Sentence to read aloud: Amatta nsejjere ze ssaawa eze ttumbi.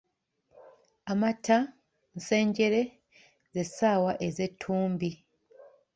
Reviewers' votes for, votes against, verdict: 0, 2, rejected